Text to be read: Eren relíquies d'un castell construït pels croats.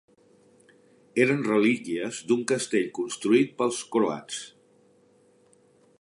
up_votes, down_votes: 2, 0